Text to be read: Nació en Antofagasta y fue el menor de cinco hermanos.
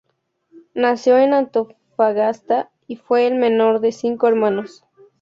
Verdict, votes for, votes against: accepted, 2, 0